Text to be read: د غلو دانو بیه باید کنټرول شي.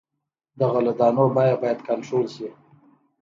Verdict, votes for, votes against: accepted, 2, 0